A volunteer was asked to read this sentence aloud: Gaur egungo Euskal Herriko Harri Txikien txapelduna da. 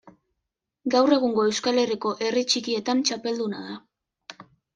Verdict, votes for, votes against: rejected, 0, 2